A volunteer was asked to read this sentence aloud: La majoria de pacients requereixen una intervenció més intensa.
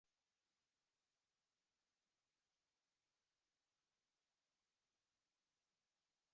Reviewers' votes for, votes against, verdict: 1, 2, rejected